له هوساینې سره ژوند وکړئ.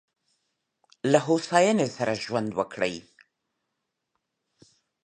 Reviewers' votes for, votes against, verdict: 2, 0, accepted